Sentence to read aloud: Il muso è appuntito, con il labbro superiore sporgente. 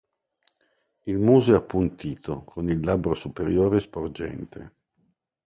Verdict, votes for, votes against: accepted, 2, 0